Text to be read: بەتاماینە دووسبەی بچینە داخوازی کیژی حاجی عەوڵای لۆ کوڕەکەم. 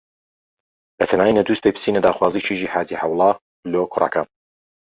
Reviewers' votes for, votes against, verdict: 2, 1, accepted